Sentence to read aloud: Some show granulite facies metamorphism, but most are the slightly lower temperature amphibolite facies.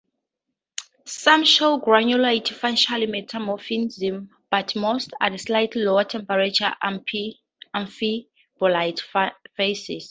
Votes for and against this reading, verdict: 0, 2, rejected